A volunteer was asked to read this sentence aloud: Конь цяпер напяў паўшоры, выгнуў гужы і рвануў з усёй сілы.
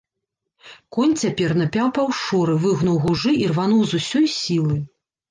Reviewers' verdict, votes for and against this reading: rejected, 1, 2